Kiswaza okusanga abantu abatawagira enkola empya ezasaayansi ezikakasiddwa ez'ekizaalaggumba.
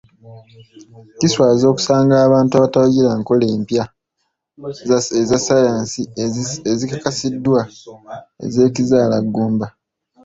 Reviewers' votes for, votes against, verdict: 2, 0, accepted